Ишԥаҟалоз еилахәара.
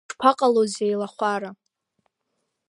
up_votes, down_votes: 2, 1